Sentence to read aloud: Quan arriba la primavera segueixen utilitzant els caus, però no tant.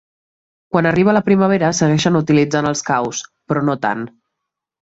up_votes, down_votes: 2, 1